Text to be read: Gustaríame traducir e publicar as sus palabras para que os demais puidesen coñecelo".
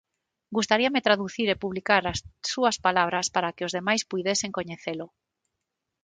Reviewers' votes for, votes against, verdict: 3, 3, rejected